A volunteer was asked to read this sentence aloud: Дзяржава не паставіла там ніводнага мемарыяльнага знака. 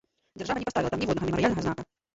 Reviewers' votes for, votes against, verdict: 1, 3, rejected